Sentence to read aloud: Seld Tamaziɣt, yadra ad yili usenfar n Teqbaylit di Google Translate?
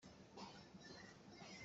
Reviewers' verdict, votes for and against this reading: rejected, 1, 2